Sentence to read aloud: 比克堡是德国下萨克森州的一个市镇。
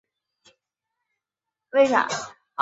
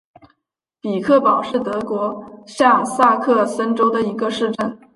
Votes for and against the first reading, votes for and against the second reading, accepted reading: 0, 3, 2, 0, second